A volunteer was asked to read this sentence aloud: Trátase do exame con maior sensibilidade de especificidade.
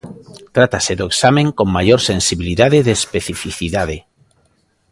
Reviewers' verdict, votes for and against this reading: rejected, 0, 2